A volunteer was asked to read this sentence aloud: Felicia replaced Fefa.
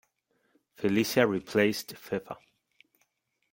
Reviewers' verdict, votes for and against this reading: accepted, 2, 0